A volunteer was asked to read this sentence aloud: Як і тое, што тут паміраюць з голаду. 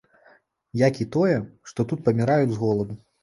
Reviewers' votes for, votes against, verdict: 2, 0, accepted